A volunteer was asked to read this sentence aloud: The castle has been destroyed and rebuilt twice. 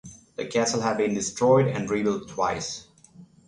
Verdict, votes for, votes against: rejected, 0, 6